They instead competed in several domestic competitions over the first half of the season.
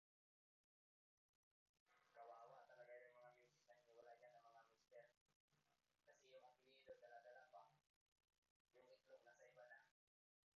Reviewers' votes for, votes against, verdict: 0, 2, rejected